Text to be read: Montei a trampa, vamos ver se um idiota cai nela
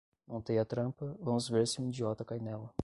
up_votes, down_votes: 10, 0